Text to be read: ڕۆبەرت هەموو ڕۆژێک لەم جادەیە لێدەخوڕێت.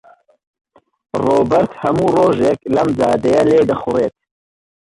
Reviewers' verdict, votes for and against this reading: rejected, 1, 2